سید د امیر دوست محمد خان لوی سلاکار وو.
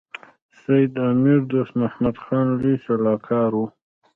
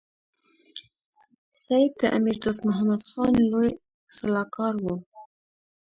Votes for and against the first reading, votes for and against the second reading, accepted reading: 0, 2, 3, 0, second